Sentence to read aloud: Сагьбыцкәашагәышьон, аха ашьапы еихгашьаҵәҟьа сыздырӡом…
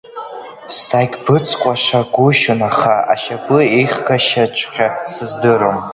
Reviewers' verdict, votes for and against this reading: rejected, 0, 2